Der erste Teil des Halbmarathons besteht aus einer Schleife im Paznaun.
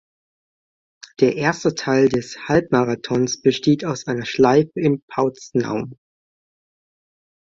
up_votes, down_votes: 0, 2